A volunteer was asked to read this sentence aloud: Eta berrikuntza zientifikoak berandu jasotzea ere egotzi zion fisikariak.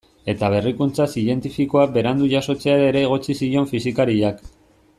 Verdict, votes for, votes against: accepted, 2, 0